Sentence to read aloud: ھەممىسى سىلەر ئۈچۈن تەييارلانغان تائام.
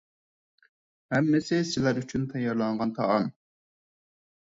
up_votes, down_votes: 4, 0